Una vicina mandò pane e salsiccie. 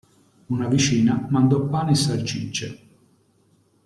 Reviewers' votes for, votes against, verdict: 0, 2, rejected